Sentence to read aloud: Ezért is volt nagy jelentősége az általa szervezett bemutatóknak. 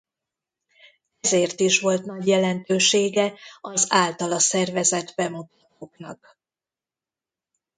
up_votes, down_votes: 1, 2